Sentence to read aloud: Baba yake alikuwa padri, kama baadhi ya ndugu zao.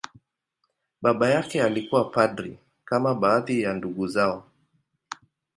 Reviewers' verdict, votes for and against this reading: accepted, 2, 0